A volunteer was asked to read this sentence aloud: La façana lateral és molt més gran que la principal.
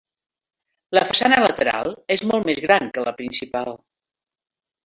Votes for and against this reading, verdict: 1, 2, rejected